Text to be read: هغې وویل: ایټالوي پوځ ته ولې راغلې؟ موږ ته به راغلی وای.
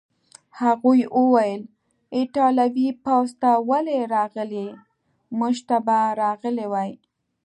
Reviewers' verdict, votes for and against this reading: rejected, 1, 2